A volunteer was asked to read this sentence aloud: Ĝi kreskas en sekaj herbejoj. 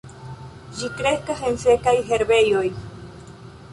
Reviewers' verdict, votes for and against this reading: accepted, 2, 1